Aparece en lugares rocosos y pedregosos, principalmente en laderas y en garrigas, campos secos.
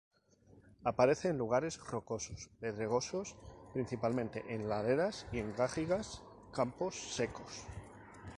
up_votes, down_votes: 2, 0